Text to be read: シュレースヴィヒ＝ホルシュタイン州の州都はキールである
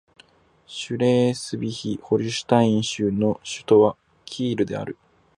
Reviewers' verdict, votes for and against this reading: rejected, 0, 2